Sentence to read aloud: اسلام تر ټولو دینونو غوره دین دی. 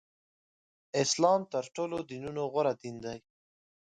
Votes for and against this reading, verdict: 4, 0, accepted